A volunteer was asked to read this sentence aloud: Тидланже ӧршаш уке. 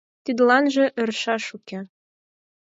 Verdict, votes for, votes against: accepted, 4, 0